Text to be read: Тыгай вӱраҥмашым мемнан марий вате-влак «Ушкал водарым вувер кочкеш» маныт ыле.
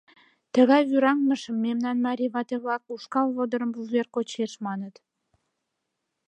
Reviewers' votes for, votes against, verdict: 1, 2, rejected